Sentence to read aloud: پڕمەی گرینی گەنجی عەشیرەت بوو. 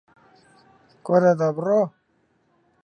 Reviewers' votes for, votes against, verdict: 0, 2, rejected